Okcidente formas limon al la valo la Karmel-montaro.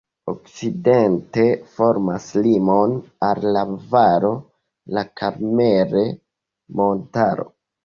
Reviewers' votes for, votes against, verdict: 0, 2, rejected